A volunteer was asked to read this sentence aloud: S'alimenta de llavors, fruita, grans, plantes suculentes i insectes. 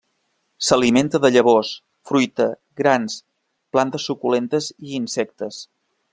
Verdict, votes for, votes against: rejected, 0, 2